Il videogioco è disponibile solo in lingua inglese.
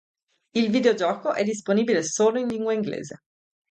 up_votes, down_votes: 2, 0